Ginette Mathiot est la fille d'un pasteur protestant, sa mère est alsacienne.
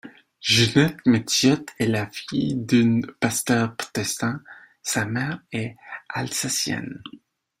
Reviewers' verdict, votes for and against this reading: rejected, 0, 2